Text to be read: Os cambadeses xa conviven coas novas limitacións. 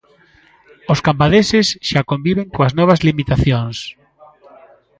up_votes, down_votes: 1, 2